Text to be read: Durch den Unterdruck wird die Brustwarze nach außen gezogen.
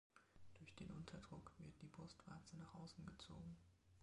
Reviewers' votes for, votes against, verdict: 2, 0, accepted